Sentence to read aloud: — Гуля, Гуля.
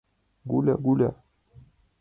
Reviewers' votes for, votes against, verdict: 2, 0, accepted